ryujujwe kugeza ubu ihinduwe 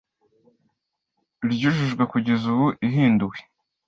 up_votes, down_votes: 2, 0